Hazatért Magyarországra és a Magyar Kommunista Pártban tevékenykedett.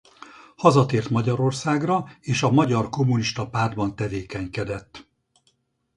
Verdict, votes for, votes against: accepted, 4, 0